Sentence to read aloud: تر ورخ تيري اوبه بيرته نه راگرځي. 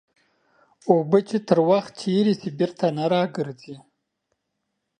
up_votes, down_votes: 0, 2